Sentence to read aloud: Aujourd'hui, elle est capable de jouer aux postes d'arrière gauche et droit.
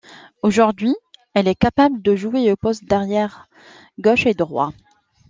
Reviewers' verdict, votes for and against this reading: accepted, 2, 0